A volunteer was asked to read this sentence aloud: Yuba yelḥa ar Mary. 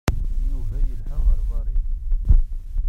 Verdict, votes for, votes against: rejected, 1, 2